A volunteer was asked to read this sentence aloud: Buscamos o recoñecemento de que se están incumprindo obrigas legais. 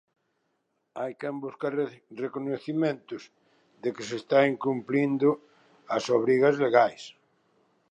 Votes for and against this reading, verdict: 0, 2, rejected